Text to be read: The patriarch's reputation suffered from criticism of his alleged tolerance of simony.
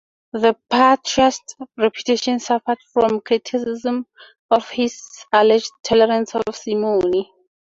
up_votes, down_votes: 2, 0